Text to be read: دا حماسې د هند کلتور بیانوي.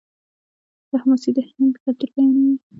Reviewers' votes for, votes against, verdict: 1, 2, rejected